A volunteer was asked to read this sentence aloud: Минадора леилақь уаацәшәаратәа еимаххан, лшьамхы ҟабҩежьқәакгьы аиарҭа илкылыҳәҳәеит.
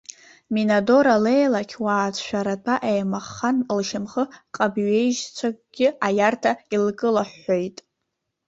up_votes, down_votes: 0, 2